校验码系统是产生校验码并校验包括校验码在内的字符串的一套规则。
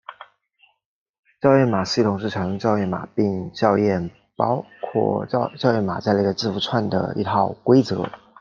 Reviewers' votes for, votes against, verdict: 0, 2, rejected